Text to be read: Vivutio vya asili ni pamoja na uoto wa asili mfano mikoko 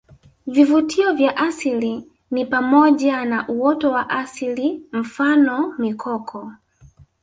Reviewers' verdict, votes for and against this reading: rejected, 0, 2